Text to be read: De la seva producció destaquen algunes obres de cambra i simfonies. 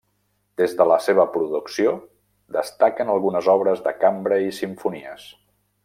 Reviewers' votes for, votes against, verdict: 1, 2, rejected